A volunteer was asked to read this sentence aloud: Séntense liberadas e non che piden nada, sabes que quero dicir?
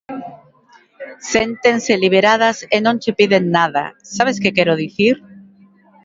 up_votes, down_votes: 2, 1